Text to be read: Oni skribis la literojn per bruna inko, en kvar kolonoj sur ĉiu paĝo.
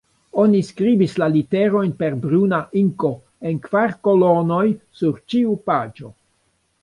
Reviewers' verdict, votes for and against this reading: rejected, 0, 2